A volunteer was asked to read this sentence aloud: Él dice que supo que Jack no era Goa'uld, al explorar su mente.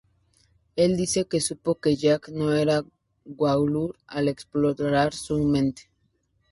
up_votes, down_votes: 2, 0